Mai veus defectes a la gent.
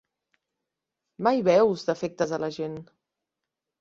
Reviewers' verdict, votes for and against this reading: accepted, 3, 0